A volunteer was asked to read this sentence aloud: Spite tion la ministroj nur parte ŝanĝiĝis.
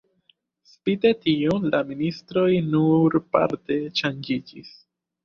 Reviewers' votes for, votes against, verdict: 2, 1, accepted